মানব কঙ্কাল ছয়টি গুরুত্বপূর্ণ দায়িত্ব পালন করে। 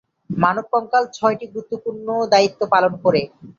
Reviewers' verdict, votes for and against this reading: accepted, 5, 0